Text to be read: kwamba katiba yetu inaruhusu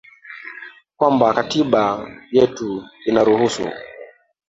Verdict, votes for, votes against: rejected, 1, 2